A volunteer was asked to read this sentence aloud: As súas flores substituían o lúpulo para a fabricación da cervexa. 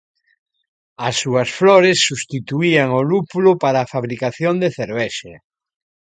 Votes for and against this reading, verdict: 1, 2, rejected